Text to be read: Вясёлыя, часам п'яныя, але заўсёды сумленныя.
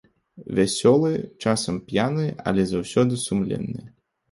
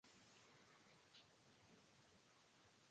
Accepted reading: first